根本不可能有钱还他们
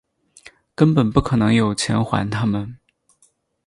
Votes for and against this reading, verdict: 4, 0, accepted